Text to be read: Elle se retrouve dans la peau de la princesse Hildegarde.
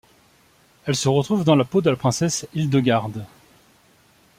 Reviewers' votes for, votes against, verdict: 2, 0, accepted